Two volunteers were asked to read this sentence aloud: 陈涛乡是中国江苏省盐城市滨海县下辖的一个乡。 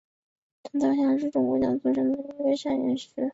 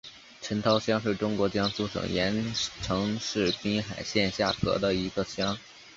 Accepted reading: second